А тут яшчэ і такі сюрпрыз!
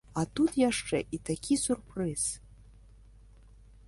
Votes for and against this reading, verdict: 2, 1, accepted